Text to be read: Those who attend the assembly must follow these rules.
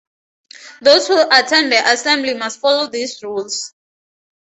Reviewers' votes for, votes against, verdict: 2, 0, accepted